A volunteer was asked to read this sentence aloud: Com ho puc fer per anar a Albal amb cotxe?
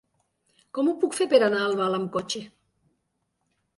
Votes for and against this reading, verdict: 2, 0, accepted